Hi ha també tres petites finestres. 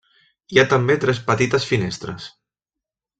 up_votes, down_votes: 3, 0